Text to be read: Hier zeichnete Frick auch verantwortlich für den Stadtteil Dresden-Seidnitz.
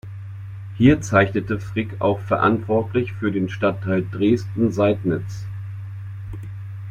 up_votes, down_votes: 2, 0